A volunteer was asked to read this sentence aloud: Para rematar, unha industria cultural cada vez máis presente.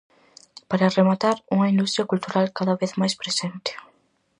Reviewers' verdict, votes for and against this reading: accepted, 4, 0